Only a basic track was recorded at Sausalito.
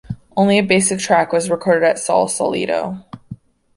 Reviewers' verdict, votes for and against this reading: rejected, 0, 2